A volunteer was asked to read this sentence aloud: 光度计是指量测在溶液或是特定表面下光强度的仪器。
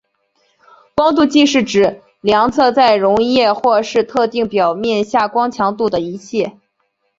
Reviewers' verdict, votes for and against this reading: accepted, 2, 0